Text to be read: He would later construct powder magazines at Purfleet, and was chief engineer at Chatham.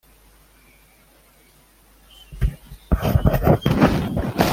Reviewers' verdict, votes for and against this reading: rejected, 0, 2